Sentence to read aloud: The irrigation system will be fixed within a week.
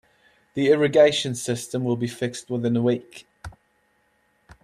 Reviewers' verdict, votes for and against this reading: accepted, 2, 0